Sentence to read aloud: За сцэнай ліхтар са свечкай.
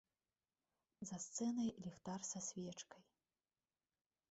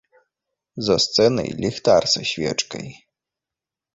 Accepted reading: second